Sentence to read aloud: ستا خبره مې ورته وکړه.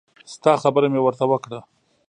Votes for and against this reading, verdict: 2, 0, accepted